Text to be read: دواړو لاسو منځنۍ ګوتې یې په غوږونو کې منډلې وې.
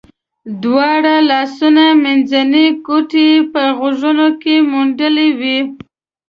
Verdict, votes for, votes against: rejected, 0, 2